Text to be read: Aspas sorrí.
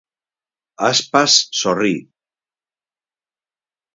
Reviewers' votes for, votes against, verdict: 4, 0, accepted